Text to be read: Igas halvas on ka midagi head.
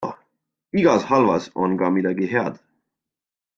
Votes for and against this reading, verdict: 2, 0, accepted